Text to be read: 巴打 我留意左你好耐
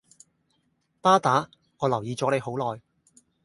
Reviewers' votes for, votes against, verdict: 0, 2, rejected